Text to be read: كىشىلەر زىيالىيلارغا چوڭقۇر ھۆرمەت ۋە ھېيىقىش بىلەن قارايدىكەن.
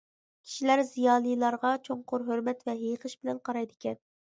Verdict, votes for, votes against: accepted, 2, 0